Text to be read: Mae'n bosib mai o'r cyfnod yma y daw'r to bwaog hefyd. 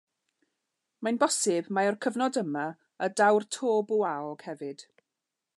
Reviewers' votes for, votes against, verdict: 2, 0, accepted